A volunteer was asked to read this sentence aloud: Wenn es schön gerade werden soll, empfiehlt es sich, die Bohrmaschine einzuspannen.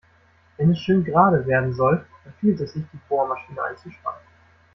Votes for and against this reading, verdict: 1, 2, rejected